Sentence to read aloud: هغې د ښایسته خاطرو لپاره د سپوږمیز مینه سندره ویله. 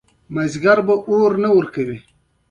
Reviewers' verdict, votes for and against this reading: accepted, 2, 0